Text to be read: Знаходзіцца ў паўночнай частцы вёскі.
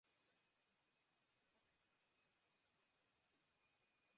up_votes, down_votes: 0, 2